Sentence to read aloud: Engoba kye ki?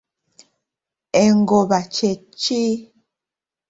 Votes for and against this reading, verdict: 2, 0, accepted